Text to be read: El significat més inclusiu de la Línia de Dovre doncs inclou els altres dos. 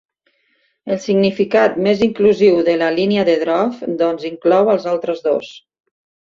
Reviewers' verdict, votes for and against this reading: rejected, 4, 5